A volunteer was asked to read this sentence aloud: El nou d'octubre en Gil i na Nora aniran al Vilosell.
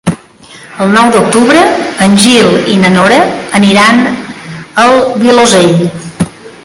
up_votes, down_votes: 1, 3